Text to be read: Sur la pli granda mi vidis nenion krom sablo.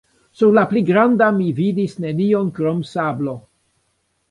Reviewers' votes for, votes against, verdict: 1, 2, rejected